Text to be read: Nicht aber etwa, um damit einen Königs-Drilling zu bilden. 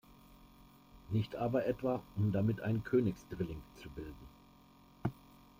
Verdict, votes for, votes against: accepted, 2, 0